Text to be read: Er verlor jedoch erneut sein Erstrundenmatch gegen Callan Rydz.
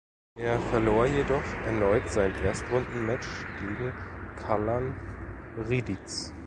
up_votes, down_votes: 0, 2